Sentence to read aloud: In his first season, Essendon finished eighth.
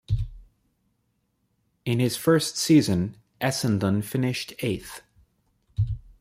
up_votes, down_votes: 2, 0